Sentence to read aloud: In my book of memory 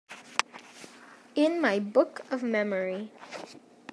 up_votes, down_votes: 2, 0